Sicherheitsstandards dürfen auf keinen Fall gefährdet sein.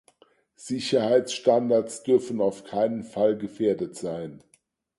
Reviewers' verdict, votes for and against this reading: accepted, 4, 0